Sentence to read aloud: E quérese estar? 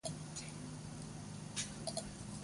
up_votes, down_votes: 0, 2